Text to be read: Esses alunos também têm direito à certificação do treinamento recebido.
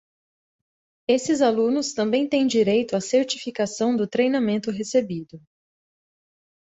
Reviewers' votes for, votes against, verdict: 2, 0, accepted